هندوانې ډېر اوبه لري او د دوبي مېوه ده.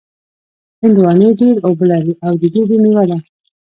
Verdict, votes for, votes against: accepted, 2, 0